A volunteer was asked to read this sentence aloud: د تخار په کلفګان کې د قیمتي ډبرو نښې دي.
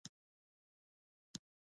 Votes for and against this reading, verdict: 1, 2, rejected